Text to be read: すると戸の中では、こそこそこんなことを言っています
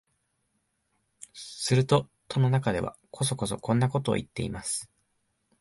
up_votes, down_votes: 2, 0